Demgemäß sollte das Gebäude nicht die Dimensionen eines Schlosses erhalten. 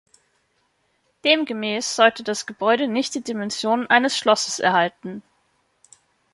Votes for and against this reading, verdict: 2, 0, accepted